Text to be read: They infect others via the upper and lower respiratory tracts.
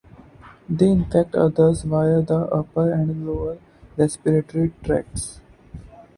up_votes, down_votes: 4, 0